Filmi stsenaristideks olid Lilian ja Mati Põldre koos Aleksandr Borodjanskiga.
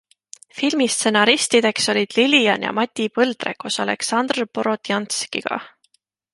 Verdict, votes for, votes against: accepted, 3, 0